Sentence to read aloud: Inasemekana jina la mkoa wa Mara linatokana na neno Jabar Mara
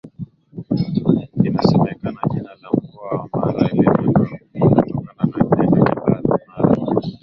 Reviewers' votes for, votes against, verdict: 0, 2, rejected